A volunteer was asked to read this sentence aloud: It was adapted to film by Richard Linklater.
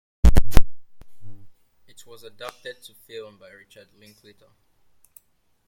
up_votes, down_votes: 1, 2